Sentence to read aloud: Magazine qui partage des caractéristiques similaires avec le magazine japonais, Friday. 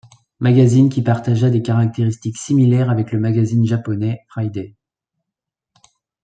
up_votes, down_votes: 0, 2